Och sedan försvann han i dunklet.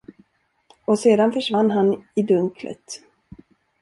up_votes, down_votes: 1, 2